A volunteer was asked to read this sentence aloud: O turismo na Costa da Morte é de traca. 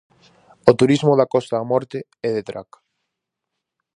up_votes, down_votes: 2, 2